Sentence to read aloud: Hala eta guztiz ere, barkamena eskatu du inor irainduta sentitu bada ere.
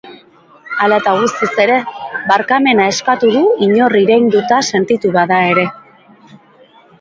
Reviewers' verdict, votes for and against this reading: accepted, 2, 0